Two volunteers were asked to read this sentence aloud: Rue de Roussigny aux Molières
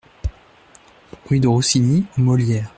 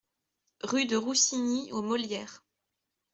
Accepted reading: second